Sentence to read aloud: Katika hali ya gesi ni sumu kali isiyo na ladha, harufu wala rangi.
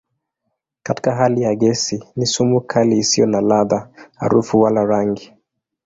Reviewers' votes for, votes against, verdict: 2, 0, accepted